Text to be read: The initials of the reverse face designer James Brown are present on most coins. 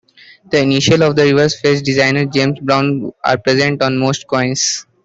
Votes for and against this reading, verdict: 1, 2, rejected